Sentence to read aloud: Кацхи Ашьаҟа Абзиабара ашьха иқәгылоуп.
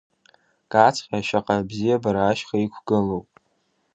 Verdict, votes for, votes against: accepted, 2, 0